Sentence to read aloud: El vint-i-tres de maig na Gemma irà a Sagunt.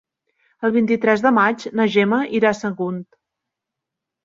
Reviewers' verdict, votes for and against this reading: accepted, 3, 0